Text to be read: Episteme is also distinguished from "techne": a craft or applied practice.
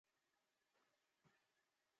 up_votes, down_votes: 0, 2